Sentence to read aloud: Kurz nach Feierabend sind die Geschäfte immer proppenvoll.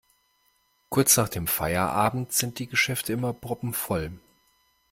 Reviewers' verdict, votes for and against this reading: rejected, 1, 2